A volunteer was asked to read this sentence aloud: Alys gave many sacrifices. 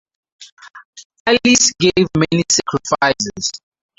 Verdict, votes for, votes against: rejected, 0, 4